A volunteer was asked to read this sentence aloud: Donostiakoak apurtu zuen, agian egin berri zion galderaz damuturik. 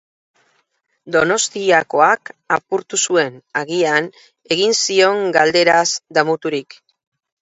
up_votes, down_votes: 2, 6